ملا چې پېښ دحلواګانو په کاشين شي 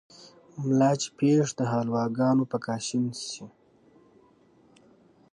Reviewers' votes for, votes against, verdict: 2, 0, accepted